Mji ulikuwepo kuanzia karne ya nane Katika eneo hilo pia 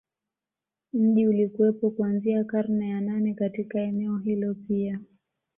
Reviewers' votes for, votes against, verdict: 2, 0, accepted